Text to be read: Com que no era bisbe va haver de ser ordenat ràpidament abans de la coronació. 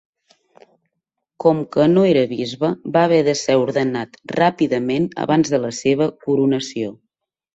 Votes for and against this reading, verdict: 1, 2, rejected